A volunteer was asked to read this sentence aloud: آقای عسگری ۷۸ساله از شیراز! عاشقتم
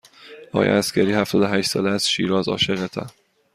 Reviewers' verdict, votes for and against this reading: rejected, 0, 2